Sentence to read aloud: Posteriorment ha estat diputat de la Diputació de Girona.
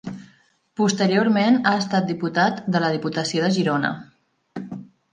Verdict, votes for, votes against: accepted, 3, 0